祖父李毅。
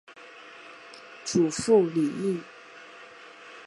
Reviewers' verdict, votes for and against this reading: accepted, 3, 1